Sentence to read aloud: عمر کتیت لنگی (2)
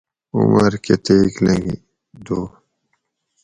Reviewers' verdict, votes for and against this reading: rejected, 0, 2